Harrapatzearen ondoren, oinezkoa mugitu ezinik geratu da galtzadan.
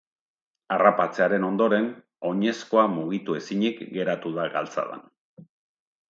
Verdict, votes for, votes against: accepted, 2, 0